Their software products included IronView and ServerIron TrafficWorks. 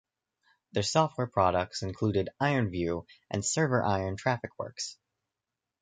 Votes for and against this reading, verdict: 2, 1, accepted